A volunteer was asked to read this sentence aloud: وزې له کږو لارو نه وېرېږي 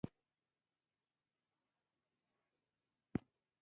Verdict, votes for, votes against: rejected, 1, 2